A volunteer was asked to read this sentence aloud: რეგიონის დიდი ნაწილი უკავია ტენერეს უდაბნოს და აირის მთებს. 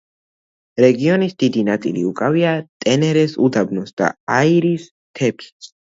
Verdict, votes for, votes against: accepted, 2, 0